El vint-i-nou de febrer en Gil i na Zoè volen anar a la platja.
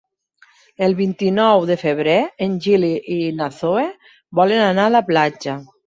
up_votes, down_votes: 0, 2